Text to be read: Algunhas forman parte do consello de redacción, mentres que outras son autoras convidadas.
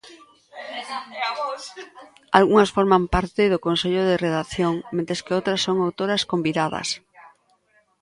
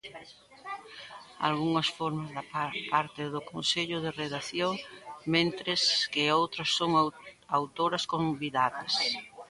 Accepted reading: first